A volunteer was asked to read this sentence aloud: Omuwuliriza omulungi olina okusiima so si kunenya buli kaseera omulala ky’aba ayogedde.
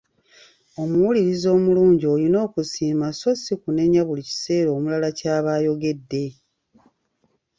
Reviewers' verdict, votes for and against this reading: rejected, 1, 2